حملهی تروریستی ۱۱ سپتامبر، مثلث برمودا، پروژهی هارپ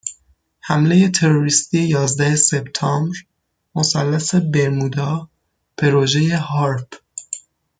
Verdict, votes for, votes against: rejected, 0, 2